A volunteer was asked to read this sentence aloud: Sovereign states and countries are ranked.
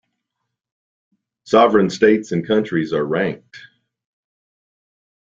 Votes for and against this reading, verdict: 2, 0, accepted